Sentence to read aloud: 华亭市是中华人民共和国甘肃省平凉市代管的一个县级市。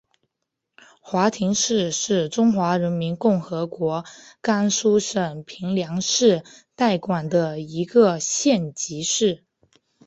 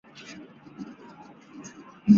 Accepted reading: first